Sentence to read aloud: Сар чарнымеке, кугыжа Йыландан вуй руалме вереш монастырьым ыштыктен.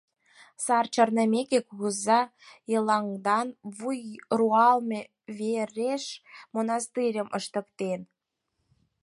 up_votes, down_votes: 0, 4